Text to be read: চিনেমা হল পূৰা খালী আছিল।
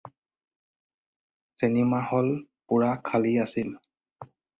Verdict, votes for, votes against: accepted, 4, 0